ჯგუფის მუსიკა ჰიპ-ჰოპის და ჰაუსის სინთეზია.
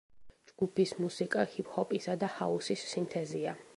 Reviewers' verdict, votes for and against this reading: rejected, 0, 2